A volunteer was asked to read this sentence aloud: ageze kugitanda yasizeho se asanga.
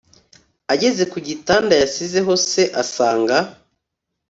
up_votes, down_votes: 2, 0